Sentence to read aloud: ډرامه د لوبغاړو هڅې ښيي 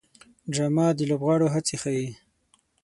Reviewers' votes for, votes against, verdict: 0, 6, rejected